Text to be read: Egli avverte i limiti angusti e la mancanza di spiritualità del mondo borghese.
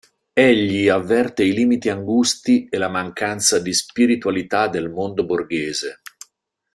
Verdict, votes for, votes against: accepted, 3, 0